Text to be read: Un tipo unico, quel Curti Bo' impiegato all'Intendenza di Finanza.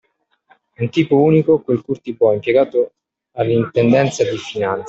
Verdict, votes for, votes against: rejected, 0, 2